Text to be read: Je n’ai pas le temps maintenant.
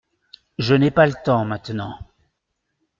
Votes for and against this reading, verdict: 3, 0, accepted